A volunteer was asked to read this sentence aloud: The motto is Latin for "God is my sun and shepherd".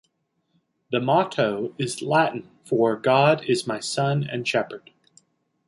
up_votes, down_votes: 2, 0